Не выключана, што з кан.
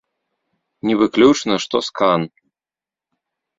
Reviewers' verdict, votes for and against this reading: rejected, 0, 3